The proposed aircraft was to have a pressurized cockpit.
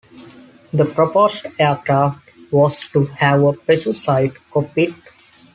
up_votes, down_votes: 0, 2